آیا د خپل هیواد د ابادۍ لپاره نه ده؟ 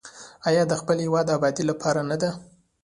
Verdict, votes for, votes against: accepted, 2, 0